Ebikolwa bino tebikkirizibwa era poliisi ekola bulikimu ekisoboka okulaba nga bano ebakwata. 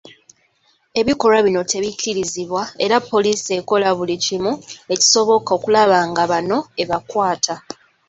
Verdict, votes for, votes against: accepted, 2, 0